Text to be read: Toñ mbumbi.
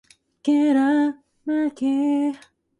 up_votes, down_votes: 0, 2